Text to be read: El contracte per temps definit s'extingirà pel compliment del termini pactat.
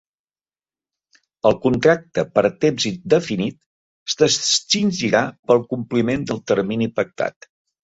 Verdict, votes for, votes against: rejected, 0, 2